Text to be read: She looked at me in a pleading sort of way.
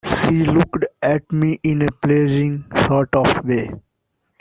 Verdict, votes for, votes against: rejected, 0, 2